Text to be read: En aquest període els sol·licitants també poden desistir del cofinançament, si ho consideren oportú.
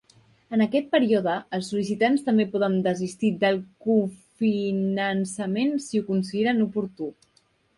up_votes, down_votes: 1, 2